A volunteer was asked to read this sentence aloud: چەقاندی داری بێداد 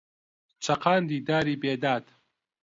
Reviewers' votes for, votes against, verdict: 2, 0, accepted